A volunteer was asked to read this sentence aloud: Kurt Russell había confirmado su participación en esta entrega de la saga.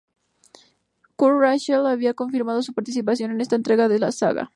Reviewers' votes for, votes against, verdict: 6, 0, accepted